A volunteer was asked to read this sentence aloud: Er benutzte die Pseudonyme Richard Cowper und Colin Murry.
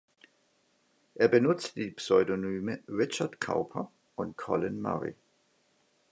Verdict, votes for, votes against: rejected, 1, 2